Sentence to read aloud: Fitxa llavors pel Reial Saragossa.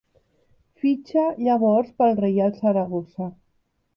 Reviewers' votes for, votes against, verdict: 2, 0, accepted